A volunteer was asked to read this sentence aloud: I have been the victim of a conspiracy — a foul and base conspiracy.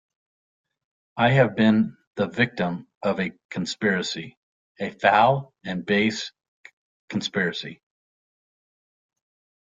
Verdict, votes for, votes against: accepted, 2, 0